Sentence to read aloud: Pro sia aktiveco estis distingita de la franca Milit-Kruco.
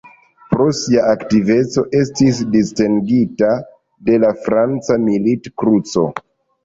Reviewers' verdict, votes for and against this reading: accepted, 2, 1